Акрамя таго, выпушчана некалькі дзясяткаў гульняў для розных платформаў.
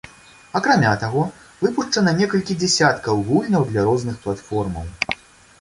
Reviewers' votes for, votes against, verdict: 2, 0, accepted